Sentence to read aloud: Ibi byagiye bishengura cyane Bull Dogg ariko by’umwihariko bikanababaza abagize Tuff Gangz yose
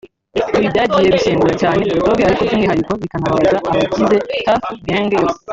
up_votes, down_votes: 0, 2